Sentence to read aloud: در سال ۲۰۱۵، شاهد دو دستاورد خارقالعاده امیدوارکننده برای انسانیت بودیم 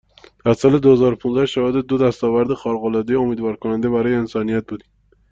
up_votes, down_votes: 0, 2